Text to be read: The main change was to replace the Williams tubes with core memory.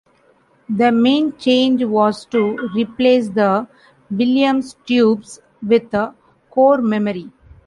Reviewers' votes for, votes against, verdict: 0, 2, rejected